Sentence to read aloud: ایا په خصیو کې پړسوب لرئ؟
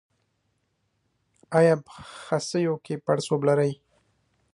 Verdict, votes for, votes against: accepted, 2, 1